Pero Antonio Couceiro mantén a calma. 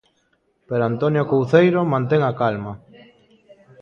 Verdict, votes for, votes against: rejected, 1, 2